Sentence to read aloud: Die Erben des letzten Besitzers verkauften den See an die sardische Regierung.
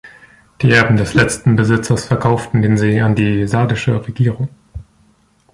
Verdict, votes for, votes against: accepted, 2, 0